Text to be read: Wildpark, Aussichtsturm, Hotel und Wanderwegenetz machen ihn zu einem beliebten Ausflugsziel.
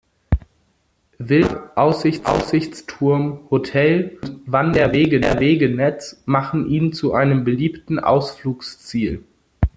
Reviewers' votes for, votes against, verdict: 0, 2, rejected